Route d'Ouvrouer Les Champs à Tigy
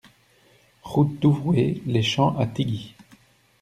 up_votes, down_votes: 1, 2